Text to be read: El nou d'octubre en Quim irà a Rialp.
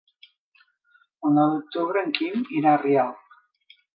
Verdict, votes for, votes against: accepted, 2, 0